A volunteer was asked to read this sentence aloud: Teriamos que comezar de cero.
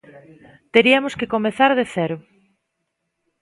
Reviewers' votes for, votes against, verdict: 1, 2, rejected